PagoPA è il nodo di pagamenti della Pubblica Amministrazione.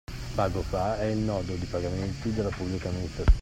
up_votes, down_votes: 0, 2